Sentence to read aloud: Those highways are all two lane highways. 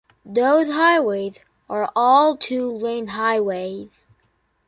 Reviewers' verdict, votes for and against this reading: accepted, 2, 0